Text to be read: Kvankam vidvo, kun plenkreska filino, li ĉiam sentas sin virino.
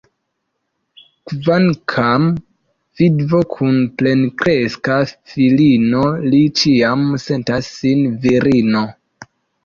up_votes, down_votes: 0, 2